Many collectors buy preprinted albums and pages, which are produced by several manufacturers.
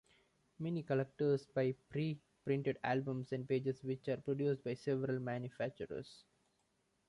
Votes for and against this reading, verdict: 2, 1, accepted